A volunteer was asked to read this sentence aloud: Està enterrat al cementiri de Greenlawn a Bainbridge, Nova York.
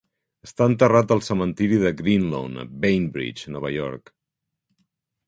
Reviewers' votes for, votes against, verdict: 3, 0, accepted